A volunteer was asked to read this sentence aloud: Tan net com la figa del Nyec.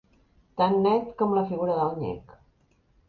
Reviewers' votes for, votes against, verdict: 1, 2, rejected